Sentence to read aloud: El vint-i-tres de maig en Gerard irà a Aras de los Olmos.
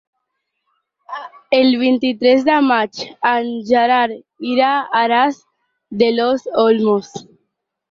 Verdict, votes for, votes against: rejected, 0, 4